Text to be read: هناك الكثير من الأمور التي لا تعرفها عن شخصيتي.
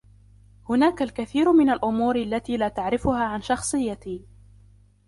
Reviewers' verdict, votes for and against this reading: rejected, 0, 2